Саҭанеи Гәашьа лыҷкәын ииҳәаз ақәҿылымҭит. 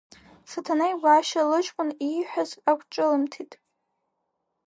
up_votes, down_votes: 2, 1